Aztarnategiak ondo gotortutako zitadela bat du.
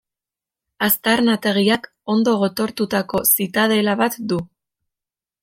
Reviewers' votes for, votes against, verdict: 2, 0, accepted